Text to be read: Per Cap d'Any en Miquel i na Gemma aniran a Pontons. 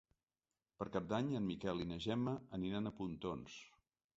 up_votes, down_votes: 2, 0